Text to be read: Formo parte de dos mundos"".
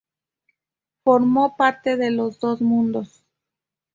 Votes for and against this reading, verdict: 0, 2, rejected